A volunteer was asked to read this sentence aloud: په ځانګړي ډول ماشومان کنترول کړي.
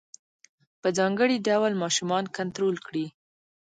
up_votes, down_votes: 2, 1